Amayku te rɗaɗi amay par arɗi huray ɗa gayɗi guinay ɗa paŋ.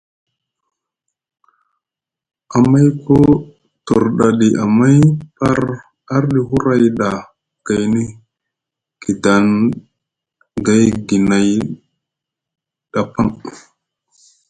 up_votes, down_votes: 1, 2